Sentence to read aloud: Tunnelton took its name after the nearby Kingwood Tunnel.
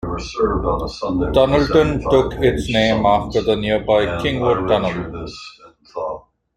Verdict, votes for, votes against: rejected, 1, 2